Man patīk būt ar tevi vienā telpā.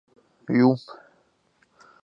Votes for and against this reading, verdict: 0, 2, rejected